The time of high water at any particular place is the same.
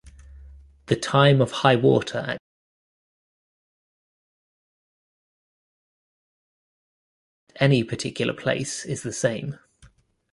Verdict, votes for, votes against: rejected, 1, 2